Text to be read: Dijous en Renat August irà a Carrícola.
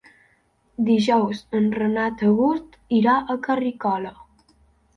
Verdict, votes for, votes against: rejected, 0, 2